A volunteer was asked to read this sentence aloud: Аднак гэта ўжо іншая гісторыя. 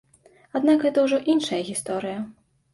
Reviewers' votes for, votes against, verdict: 2, 0, accepted